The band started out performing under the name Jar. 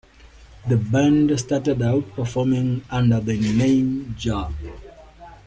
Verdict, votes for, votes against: accepted, 2, 0